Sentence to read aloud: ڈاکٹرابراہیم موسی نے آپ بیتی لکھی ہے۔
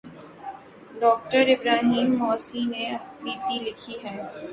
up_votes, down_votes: 2, 3